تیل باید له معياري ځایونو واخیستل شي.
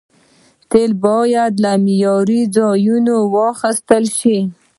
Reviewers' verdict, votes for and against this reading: rejected, 1, 2